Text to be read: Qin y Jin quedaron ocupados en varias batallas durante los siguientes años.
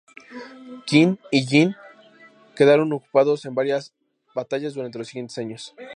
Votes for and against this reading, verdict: 2, 0, accepted